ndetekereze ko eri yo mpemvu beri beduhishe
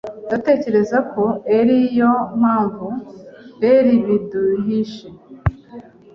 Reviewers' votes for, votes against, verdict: 1, 2, rejected